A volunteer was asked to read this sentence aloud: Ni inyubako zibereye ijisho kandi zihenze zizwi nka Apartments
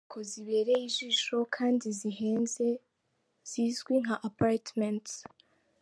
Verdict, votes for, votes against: rejected, 0, 2